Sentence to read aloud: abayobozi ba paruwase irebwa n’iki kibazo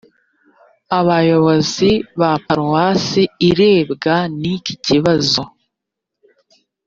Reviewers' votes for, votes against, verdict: 1, 2, rejected